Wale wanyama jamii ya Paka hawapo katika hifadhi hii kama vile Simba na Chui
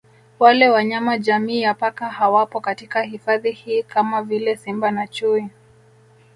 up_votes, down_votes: 1, 2